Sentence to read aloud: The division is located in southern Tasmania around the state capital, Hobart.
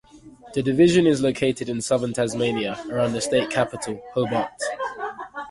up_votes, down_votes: 2, 0